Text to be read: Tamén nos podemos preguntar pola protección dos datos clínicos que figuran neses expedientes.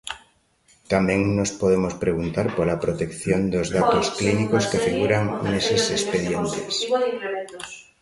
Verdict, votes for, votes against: rejected, 0, 2